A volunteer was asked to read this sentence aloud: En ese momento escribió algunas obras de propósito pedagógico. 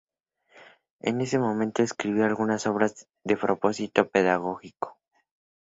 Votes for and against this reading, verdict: 0, 2, rejected